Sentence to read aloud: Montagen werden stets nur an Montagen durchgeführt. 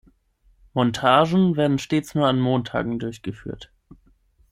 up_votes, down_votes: 6, 0